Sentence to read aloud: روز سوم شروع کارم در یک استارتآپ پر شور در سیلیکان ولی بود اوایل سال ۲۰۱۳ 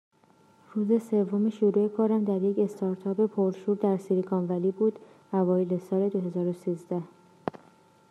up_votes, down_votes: 0, 2